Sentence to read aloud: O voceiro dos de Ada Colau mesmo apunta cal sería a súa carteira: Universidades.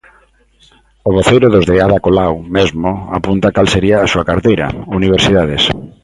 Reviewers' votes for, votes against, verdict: 2, 1, accepted